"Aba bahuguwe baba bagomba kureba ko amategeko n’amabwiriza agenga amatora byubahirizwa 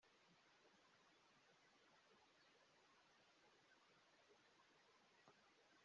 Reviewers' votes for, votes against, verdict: 0, 2, rejected